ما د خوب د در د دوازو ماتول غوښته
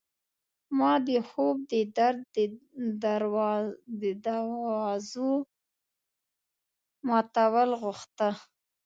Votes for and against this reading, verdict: 1, 3, rejected